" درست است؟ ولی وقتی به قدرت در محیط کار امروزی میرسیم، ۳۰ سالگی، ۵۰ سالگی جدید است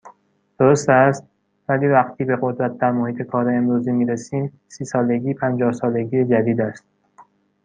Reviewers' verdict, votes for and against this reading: rejected, 0, 2